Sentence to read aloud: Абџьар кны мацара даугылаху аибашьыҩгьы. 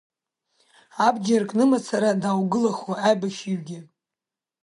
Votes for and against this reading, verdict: 3, 0, accepted